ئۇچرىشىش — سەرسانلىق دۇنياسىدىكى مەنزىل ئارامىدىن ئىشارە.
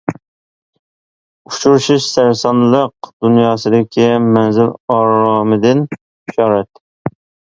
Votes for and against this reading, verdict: 0, 2, rejected